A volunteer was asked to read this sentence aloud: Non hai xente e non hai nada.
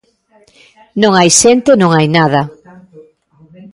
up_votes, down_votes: 1, 2